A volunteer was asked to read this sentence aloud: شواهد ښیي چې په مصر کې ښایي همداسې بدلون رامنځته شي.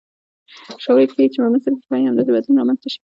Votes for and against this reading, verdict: 2, 0, accepted